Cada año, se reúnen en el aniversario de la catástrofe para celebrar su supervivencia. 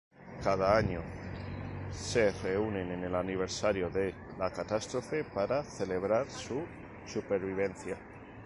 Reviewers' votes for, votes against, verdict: 2, 0, accepted